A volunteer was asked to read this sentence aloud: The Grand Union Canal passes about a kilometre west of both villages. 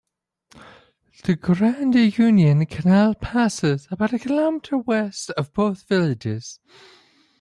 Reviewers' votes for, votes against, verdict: 2, 1, accepted